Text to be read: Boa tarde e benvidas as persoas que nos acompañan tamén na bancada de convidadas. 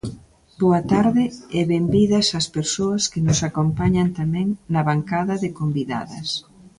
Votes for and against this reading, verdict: 2, 0, accepted